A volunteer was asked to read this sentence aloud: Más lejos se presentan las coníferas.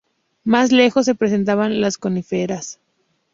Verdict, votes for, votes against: rejected, 0, 4